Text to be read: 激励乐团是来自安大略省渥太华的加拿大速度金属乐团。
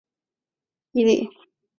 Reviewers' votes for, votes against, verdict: 0, 3, rejected